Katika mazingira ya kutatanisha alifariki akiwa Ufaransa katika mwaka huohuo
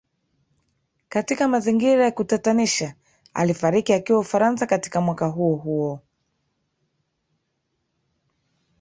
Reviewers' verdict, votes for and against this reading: rejected, 1, 2